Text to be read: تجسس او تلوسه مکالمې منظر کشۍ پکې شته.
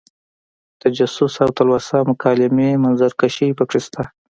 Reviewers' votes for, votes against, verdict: 0, 2, rejected